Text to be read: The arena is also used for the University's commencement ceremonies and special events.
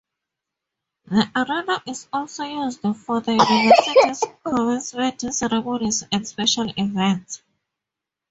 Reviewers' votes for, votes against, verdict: 0, 2, rejected